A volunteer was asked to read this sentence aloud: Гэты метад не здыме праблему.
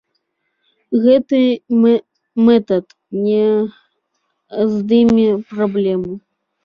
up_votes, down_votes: 0, 2